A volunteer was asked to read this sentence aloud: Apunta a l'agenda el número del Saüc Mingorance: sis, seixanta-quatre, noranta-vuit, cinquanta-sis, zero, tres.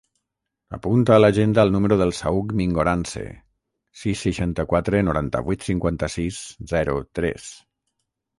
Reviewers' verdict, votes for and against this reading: rejected, 3, 3